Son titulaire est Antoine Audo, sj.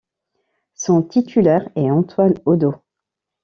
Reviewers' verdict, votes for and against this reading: rejected, 1, 2